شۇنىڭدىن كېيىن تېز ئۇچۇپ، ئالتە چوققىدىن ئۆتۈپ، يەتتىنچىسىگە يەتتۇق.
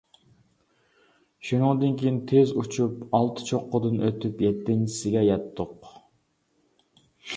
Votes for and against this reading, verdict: 2, 0, accepted